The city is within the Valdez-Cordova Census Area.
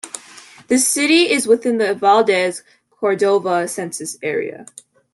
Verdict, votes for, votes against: accepted, 2, 0